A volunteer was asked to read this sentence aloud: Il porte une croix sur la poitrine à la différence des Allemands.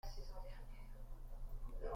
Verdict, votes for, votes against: rejected, 0, 2